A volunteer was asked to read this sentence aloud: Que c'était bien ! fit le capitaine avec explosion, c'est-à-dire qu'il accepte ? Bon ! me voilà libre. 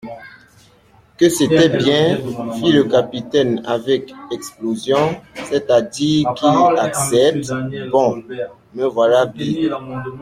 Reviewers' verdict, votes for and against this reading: rejected, 0, 2